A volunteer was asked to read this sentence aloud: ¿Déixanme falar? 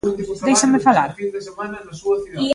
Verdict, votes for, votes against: rejected, 1, 2